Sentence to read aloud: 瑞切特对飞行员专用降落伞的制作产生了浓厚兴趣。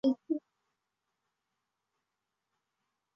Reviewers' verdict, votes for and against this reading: rejected, 0, 2